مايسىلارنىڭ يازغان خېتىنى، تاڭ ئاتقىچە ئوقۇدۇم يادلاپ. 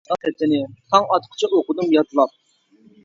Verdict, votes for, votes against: rejected, 1, 2